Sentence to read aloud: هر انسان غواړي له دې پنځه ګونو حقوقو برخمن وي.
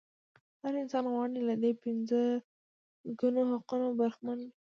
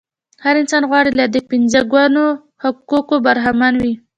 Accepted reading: second